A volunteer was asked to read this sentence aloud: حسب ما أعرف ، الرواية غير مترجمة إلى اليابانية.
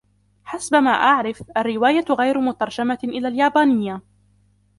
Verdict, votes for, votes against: accepted, 2, 0